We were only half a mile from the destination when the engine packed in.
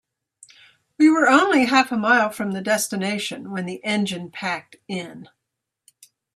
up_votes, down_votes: 2, 0